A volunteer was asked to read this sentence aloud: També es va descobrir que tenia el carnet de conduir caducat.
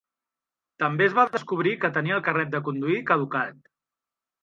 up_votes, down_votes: 6, 0